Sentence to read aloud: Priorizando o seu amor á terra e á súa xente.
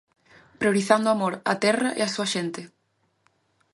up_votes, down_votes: 0, 2